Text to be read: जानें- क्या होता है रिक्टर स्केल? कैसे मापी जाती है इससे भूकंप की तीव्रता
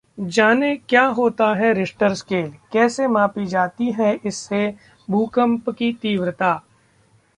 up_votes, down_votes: 0, 2